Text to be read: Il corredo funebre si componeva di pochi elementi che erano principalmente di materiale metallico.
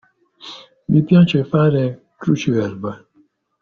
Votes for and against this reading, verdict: 0, 2, rejected